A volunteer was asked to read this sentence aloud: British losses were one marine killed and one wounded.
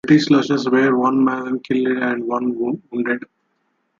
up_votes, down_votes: 0, 2